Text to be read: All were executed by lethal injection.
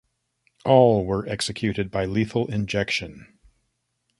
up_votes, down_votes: 2, 0